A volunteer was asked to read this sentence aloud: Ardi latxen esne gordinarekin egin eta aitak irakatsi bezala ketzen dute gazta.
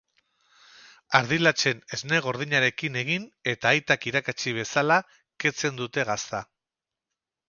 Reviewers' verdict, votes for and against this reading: accepted, 2, 0